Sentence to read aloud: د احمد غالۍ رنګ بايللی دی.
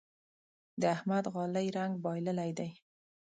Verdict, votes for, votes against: accepted, 2, 0